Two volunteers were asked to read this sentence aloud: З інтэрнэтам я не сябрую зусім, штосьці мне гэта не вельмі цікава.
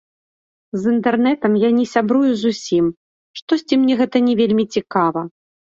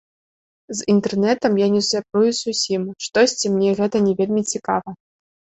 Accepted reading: second